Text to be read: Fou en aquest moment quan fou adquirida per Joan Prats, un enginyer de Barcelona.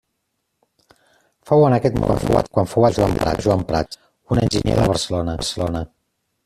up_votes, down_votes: 0, 2